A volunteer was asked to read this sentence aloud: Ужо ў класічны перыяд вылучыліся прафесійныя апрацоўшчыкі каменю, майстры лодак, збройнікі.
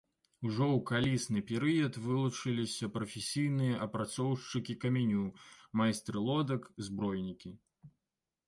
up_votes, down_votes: 1, 2